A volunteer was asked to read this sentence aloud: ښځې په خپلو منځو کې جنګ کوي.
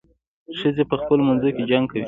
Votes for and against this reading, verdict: 1, 2, rejected